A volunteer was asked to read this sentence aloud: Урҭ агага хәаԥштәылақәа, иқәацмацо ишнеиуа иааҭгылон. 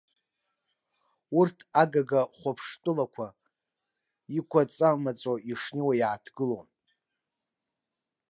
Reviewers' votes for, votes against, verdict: 0, 2, rejected